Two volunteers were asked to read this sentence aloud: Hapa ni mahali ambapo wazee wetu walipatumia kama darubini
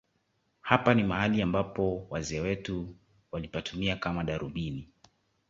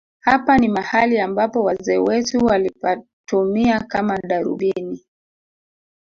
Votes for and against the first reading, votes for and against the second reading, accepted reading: 3, 0, 1, 2, first